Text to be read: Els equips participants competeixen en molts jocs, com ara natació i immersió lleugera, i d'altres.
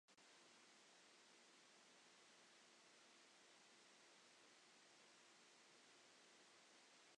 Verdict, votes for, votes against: rejected, 0, 2